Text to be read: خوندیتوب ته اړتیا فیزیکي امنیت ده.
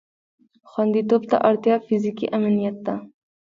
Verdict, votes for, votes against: rejected, 0, 2